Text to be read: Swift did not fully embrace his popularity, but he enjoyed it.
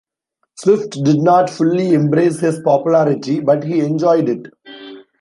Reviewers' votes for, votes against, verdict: 2, 0, accepted